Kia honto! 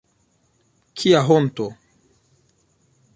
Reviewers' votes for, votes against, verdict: 2, 1, accepted